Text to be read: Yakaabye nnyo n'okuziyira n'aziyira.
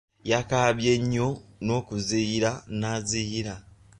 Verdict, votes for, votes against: accepted, 3, 0